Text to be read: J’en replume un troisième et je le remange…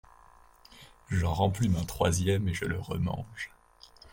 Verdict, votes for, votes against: accepted, 2, 0